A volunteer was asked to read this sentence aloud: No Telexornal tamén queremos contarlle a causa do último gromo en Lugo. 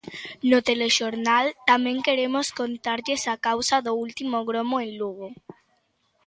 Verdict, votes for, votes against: rejected, 0, 2